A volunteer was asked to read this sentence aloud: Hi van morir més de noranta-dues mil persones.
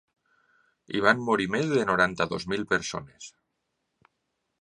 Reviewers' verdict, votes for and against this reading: accepted, 2, 0